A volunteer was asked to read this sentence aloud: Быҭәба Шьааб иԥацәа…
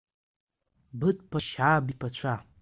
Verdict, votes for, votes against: rejected, 1, 2